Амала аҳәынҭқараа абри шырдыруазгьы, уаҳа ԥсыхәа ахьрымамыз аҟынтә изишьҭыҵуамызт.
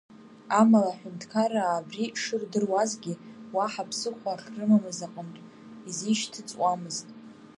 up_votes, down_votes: 0, 2